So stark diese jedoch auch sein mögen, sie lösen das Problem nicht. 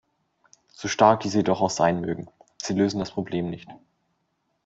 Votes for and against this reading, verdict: 2, 0, accepted